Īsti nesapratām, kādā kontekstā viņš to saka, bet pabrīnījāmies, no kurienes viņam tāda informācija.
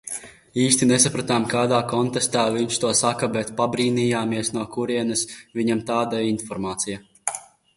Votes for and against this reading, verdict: 0, 2, rejected